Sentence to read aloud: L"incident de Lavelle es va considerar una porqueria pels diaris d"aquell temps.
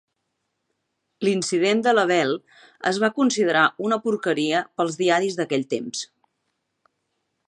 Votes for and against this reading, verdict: 2, 0, accepted